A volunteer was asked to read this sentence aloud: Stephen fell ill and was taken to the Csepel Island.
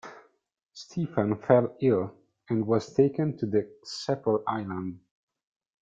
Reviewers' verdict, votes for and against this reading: rejected, 0, 2